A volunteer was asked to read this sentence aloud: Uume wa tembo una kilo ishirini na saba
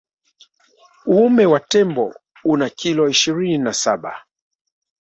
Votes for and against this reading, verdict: 6, 0, accepted